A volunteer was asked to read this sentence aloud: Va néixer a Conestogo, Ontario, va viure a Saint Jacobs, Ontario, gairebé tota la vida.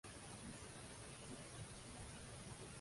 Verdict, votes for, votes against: rejected, 0, 2